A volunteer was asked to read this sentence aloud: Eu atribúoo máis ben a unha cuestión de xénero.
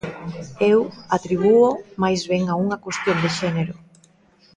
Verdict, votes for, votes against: accepted, 2, 0